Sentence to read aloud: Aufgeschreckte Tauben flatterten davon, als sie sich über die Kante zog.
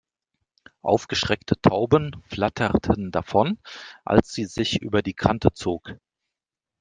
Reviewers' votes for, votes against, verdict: 2, 0, accepted